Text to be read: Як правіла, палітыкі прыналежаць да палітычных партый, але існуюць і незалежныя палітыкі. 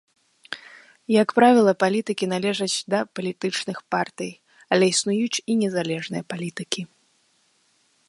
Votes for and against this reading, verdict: 1, 2, rejected